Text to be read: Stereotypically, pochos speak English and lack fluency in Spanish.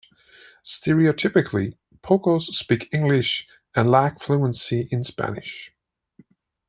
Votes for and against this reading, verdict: 2, 1, accepted